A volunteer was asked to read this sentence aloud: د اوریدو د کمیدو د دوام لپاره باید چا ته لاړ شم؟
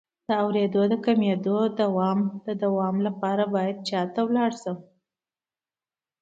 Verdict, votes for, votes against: rejected, 1, 2